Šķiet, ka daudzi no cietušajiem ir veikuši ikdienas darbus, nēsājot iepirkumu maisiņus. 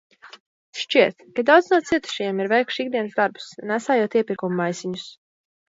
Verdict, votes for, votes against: rejected, 1, 2